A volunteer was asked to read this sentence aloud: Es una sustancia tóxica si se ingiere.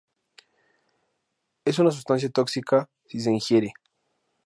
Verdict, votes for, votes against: accepted, 2, 0